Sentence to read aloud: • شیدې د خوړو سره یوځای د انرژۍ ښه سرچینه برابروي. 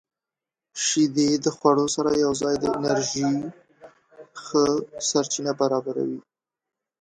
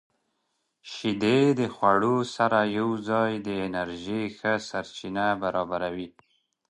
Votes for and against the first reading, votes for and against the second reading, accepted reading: 1, 2, 2, 0, second